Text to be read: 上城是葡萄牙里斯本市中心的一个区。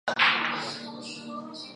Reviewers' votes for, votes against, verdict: 1, 2, rejected